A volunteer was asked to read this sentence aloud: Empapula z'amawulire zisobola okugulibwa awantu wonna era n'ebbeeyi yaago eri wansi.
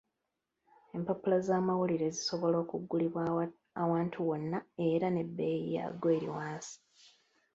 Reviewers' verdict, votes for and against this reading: rejected, 0, 2